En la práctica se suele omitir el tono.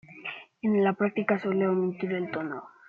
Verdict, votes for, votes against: rejected, 0, 2